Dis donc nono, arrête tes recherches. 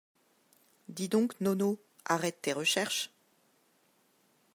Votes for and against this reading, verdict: 2, 0, accepted